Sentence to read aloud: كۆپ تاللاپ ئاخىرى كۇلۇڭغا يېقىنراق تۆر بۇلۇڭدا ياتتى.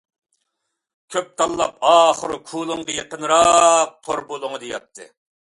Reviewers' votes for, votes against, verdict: 2, 0, accepted